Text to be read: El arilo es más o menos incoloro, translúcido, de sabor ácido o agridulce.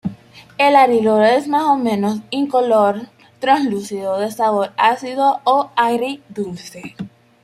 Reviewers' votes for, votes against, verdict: 0, 2, rejected